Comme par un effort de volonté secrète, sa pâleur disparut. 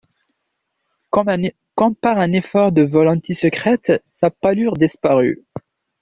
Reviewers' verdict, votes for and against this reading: rejected, 0, 2